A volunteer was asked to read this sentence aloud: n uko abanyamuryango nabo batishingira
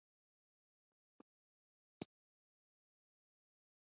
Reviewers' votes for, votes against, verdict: 1, 3, rejected